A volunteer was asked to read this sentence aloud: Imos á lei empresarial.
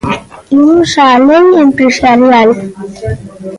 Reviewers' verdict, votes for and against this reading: rejected, 0, 2